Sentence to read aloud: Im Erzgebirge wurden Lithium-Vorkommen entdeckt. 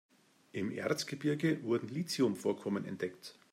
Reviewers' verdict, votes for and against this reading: accepted, 2, 0